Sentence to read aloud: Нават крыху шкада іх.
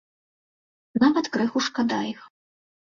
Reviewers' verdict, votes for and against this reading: accepted, 2, 0